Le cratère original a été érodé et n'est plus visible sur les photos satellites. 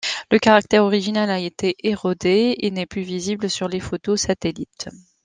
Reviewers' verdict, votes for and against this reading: rejected, 1, 2